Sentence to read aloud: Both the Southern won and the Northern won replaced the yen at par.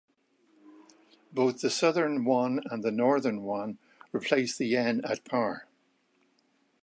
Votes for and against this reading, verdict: 2, 0, accepted